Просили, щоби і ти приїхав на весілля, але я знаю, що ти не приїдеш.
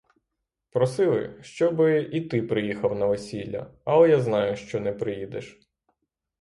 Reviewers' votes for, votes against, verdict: 3, 6, rejected